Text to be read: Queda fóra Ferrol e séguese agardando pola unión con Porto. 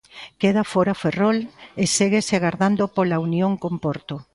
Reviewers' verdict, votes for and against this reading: accepted, 2, 0